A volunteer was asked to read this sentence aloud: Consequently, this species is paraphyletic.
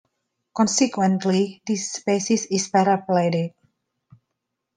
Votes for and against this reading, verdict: 2, 1, accepted